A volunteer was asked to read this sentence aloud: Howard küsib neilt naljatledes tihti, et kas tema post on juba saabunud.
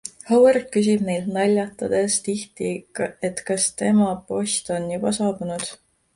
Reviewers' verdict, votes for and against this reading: accepted, 2, 0